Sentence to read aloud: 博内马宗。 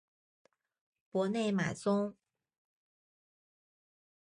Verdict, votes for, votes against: accepted, 2, 0